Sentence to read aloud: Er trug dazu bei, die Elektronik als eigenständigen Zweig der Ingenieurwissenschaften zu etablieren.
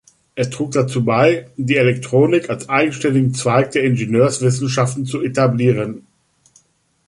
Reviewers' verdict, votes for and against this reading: rejected, 0, 3